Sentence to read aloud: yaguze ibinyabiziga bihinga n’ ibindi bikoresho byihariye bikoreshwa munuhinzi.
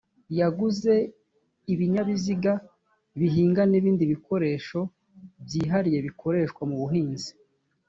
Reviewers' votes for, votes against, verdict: 1, 2, rejected